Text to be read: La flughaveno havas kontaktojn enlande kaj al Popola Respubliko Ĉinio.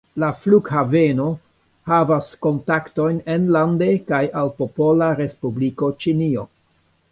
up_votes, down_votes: 3, 1